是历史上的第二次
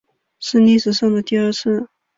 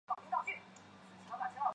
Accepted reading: first